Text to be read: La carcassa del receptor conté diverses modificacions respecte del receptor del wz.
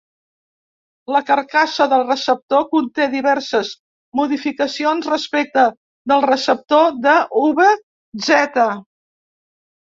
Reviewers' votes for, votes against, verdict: 1, 2, rejected